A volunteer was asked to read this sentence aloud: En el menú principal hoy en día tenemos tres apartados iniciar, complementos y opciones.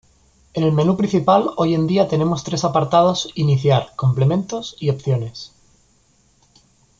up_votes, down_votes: 2, 0